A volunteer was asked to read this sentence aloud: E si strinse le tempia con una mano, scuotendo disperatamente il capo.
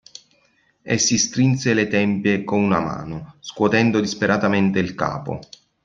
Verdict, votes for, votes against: accepted, 2, 1